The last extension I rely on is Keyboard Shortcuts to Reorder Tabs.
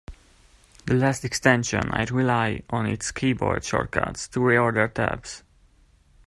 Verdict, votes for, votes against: accepted, 2, 1